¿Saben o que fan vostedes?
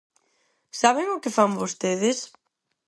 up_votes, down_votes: 4, 0